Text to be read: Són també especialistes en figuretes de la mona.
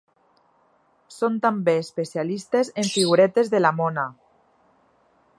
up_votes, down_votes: 2, 0